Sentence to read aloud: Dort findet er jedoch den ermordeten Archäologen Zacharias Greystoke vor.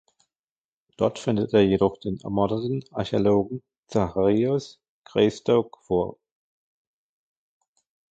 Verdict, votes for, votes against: rejected, 1, 2